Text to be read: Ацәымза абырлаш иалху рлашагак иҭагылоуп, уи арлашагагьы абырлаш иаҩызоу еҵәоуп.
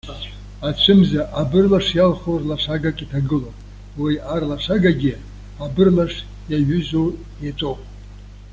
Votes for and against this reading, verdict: 2, 0, accepted